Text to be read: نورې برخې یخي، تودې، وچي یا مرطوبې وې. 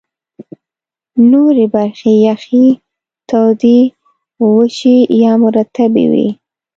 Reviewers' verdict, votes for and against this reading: rejected, 0, 3